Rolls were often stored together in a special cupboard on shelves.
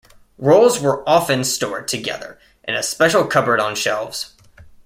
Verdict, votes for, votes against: accepted, 2, 0